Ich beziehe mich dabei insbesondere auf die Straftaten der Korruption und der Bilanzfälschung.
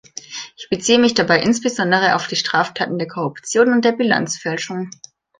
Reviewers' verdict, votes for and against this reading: accepted, 2, 0